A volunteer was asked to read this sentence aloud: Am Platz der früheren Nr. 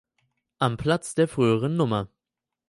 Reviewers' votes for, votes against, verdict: 4, 0, accepted